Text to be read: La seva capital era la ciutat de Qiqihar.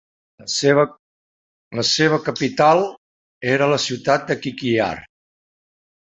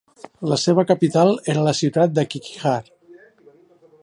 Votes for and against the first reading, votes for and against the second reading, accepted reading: 0, 2, 2, 0, second